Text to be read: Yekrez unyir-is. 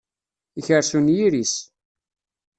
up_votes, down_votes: 1, 2